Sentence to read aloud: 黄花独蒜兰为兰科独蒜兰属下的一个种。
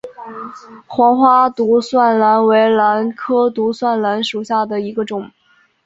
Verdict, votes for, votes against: accepted, 3, 1